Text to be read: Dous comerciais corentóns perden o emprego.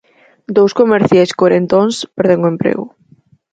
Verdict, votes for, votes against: accepted, 4, 0